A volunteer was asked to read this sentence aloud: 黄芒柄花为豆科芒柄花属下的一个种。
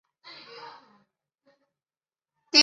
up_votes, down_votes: 0, 3